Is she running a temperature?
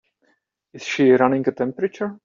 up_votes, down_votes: 2, 1